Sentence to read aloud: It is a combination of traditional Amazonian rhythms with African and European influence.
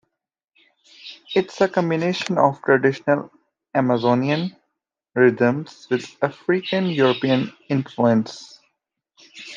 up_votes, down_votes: 2, 0